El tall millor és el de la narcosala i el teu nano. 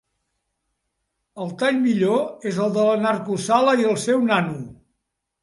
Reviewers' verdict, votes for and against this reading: rejected, 3, 4